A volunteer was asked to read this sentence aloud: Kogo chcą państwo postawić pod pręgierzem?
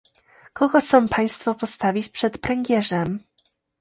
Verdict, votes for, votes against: rejected, 0, 2